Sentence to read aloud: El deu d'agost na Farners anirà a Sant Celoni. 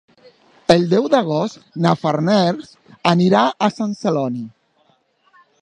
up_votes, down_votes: 2, 0